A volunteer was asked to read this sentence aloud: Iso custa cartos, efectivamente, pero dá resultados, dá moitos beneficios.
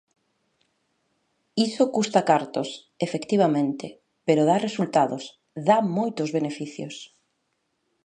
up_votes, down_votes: 2, 0